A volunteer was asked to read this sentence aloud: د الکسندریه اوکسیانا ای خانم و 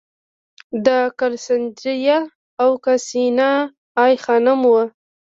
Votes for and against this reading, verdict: 0, 2, rejected